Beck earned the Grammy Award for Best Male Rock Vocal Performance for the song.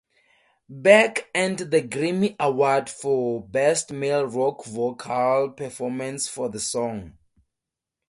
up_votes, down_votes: 0, 4